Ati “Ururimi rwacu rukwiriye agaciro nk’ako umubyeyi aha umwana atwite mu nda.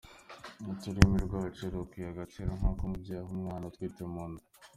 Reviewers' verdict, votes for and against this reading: accepted, 2, 1